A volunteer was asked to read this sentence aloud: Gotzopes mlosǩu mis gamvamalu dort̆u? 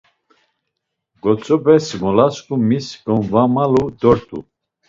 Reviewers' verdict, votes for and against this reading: accepted, 2, 0